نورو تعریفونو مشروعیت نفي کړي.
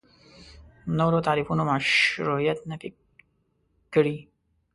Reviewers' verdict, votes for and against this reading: rejected, 1, 2